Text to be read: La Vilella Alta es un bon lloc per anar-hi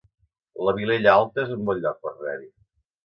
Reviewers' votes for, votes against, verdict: 1, 2, rejected